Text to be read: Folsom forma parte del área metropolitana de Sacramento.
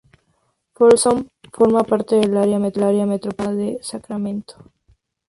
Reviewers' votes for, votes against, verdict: 2, 0, accepted